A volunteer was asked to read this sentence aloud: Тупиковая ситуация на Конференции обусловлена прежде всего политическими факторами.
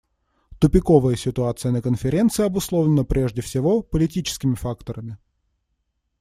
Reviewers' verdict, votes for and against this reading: accepted, 2, 0